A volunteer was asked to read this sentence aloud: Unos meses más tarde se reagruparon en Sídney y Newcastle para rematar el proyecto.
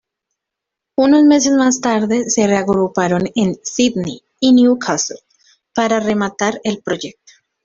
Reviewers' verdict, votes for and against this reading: accepted, 2, 1